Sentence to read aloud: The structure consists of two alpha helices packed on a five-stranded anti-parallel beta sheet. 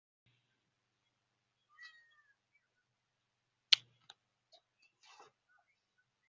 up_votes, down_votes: 0, 2